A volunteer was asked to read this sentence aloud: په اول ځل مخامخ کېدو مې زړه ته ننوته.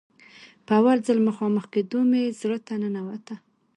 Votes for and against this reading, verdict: 1, 2, rejected